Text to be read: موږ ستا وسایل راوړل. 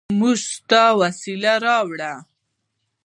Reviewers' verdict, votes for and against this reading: rejected, 1, 2